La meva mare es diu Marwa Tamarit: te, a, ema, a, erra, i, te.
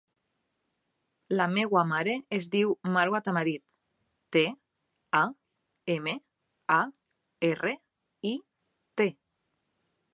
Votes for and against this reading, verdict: 1, 2, rejected